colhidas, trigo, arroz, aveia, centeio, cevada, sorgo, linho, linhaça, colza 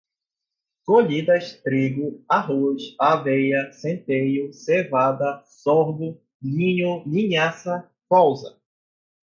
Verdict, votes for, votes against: accepted, 4, 0